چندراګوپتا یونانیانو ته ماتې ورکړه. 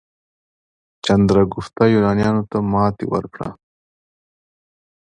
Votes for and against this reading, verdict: 2, 0, accepted